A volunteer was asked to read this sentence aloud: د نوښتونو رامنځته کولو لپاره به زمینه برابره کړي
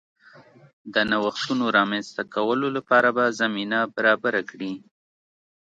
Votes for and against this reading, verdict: 2, 0, accepted